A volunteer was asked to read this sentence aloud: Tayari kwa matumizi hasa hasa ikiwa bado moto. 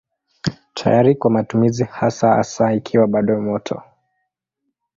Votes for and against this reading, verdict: 2, 0, accepted